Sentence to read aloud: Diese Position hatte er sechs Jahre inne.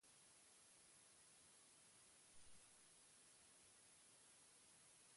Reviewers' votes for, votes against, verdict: 0, 4, rejected